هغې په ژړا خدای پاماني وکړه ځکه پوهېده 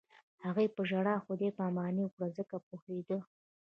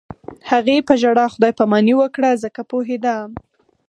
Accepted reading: second